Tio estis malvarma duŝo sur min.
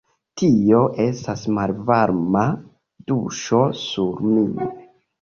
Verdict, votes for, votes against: rejected, 0, 2